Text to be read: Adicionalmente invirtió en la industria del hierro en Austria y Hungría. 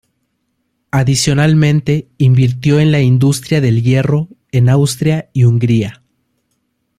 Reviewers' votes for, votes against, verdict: 2, 0, accepted